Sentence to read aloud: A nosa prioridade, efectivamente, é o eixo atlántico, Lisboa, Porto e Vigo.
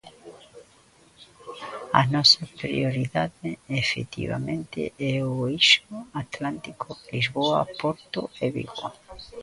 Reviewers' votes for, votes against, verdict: 0, 2, rejected